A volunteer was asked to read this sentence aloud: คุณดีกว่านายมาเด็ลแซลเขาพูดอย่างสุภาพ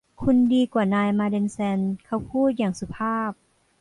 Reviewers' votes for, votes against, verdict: 2, 1, accepted